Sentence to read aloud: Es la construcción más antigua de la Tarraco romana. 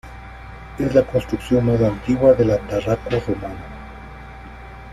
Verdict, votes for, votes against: accepted, 2, 1